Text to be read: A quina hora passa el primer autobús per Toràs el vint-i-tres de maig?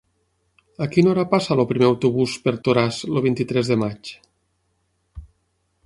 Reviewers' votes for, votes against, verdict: 3, 6, rejected